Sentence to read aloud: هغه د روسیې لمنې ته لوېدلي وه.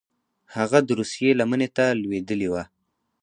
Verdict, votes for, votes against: accepted, 4, 0